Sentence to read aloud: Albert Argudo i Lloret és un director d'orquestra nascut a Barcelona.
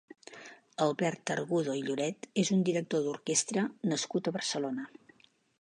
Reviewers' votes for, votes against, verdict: 2, 0, accepted